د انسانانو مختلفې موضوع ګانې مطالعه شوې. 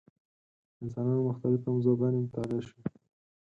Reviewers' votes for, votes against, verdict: 4, 0, accepted